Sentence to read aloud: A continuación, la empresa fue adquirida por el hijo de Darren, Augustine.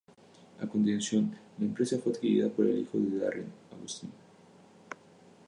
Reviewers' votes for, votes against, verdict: 2, 0, accepted